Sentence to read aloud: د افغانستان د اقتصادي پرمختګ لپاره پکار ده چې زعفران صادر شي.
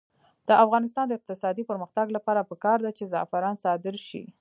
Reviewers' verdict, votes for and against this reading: rejected, 1, 2